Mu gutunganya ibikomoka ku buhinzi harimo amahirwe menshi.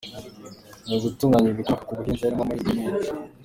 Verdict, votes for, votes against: rejected, 0, 2